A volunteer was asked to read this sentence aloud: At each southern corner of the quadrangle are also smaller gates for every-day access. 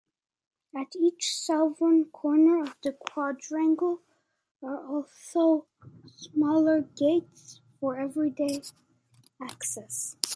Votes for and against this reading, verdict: 2, 1, accepted